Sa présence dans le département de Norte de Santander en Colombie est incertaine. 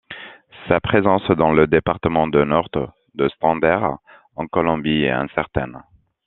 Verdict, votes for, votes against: rejected, 1, 2